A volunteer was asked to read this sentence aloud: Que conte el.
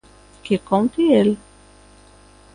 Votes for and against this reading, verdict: 2, 0, accepted